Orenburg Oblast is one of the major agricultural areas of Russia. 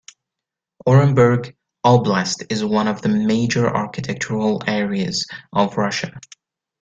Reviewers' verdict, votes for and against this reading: rejected, 1, 2